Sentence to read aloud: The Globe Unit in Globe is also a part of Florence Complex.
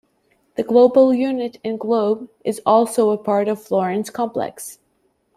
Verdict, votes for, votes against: rejected, 0, 2